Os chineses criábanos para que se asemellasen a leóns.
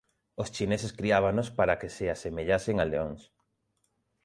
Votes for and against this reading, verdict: 2, 0, accepted